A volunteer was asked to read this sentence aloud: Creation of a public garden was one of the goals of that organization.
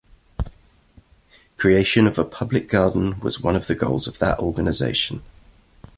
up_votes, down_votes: 2, 0